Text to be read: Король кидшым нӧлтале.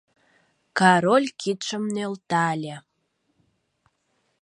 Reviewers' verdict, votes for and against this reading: rejected, 0, 2